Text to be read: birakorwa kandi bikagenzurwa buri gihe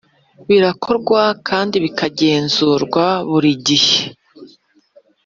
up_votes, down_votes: 3, 0